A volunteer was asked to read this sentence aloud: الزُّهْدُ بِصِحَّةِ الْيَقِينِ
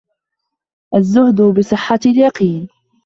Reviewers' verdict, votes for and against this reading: accepted, 2, 0